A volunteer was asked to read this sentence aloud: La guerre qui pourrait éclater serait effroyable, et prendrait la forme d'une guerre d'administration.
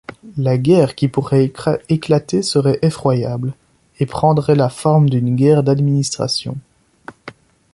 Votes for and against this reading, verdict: 0, 2, rejected